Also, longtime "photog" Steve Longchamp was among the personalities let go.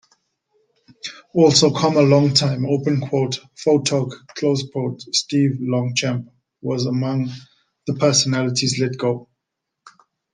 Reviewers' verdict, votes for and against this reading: rejected, 0, 2